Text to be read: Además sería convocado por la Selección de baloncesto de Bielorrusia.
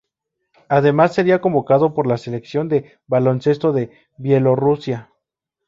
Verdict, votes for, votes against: rejected, 0, 2